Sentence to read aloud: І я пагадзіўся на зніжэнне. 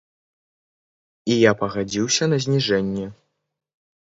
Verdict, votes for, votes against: accepted, 2, 0